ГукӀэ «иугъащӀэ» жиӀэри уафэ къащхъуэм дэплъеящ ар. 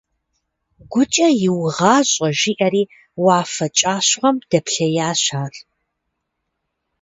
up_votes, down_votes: 0, 2